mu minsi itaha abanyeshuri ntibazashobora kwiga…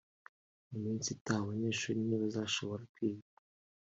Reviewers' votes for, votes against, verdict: 1, 2, rejected